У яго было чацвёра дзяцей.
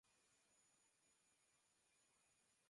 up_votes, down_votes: 0, 2